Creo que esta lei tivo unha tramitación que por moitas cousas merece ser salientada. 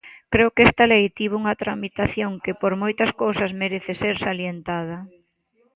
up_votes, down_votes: 2, 0